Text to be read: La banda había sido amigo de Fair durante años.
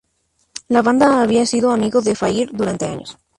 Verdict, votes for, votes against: rejected, 0, 2